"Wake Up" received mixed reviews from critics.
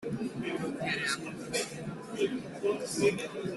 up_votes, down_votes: 0, 3